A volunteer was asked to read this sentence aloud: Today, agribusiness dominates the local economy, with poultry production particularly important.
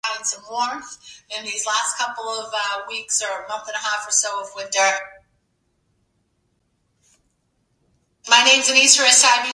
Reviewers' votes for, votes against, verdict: 0, 2, rejected